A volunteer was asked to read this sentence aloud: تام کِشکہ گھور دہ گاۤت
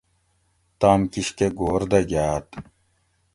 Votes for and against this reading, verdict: 2, 0, accepted